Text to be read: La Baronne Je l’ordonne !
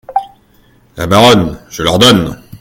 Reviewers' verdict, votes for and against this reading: accepted, 2, 0